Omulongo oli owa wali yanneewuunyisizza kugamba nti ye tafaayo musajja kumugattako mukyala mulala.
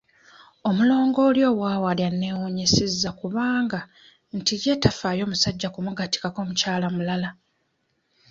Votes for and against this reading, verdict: 0, 2, rejected